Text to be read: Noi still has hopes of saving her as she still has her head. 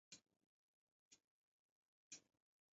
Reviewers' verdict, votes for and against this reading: rejected, 0, 2